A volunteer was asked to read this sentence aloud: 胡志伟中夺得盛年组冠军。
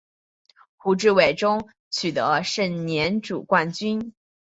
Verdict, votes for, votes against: accepted, 2, 0